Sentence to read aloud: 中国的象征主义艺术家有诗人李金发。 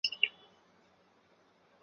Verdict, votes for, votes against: rejected, 0, 3